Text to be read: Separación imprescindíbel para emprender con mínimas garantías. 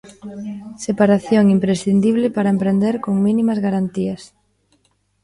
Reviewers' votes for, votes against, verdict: 0, 2, rejected